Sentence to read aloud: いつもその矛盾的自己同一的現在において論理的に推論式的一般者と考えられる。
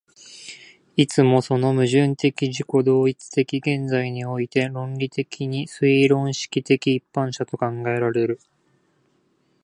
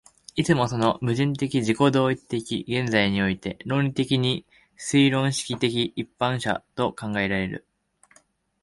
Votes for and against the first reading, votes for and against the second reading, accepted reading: 2, 0, 1, 2, first